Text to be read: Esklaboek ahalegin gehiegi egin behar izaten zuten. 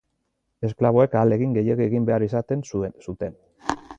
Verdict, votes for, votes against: rejected, 0, 2